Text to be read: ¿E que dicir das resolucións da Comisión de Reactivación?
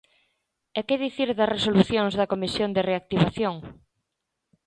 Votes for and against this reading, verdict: 2, 0, accepted